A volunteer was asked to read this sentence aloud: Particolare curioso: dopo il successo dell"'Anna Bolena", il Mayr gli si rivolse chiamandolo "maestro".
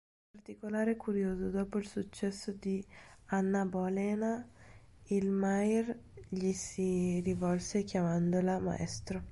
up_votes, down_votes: 0, 2